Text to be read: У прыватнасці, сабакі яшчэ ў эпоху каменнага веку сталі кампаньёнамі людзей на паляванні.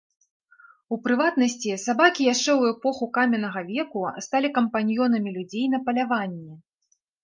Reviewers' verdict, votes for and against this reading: accepted, 3, 0